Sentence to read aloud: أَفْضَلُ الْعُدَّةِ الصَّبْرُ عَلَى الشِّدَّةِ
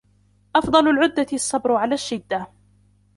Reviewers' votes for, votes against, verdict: 2, 1, accepted